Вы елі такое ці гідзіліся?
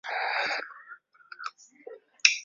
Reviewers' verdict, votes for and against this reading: rejected, 0, 2